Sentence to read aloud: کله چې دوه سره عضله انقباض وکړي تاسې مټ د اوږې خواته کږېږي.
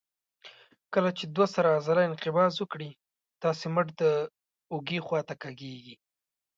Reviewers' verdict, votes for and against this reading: accepted, 2, 0